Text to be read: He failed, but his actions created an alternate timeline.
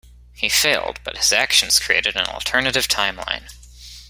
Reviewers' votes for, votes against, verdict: 0, 2, rejected